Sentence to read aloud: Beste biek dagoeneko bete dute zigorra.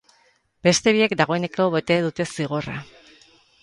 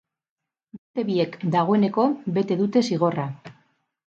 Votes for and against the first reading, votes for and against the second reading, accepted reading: 6, 0, 4, 6, first